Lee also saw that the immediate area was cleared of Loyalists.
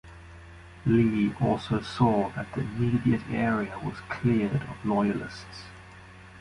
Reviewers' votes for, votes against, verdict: 0, 2, rejected